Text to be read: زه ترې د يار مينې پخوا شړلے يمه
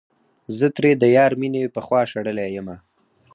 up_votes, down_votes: 2, 4